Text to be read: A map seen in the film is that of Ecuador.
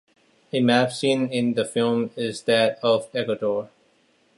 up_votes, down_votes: 2, 0